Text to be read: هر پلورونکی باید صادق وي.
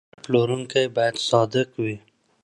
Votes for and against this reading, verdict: 1, 2, rejected